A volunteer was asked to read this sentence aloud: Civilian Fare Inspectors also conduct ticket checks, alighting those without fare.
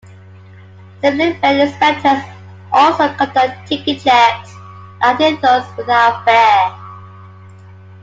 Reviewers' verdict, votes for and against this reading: rejected, 0, 2